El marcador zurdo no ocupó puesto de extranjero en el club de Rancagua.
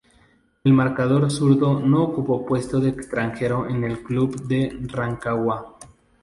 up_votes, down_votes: 2, 0